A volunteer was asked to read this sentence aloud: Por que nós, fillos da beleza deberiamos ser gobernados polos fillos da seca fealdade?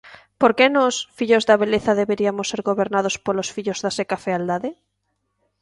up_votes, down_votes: 2, 1